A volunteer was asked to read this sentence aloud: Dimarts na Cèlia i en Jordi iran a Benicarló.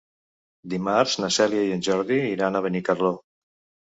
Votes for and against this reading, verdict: 3, 0, accepted